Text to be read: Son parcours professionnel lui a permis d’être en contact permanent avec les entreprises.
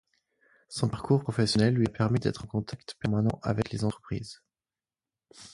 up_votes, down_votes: 4, 0